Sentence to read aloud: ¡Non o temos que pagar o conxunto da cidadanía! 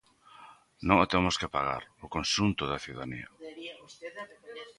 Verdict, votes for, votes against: rejected, 0, 2